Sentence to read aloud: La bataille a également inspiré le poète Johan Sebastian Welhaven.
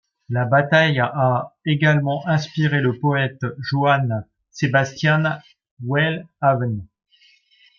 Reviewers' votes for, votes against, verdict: 1, 2, rejected